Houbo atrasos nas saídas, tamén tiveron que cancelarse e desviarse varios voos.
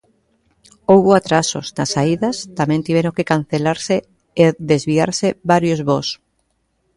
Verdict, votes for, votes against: rejected, 0, 2